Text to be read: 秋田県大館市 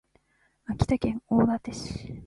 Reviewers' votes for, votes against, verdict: 2, 0, accepted